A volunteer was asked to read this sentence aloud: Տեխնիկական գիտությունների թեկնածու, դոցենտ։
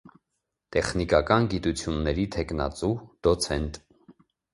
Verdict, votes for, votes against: accepted, 2, 0